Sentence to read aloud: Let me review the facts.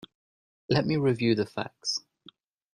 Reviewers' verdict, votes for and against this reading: accepted, 2, 0